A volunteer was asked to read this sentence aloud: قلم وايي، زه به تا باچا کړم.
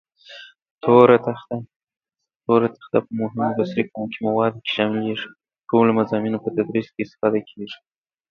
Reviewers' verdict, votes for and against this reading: rejected, 1, 2